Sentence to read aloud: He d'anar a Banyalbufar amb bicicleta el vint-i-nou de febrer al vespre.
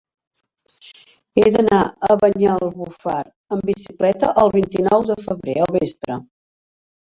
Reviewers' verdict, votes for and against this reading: rejected, 0, 2